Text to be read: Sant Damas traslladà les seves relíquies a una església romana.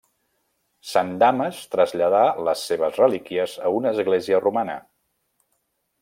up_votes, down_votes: 1, 2